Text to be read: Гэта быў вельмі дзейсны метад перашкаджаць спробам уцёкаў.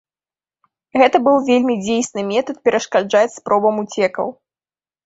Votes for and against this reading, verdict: 0, 2, rejected